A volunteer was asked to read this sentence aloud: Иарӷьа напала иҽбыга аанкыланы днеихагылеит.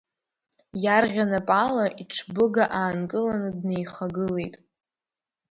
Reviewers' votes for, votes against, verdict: 2, 0, accepted